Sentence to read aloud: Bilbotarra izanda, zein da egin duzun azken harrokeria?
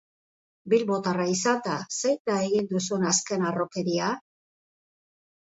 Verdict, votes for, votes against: accepted, 4, 2